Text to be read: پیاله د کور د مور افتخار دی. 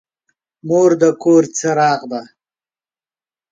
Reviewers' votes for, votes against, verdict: 0, 2, rejected